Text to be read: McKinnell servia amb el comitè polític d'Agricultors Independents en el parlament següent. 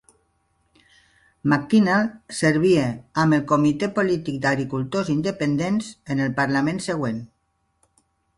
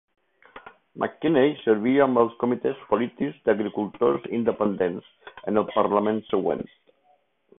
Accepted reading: first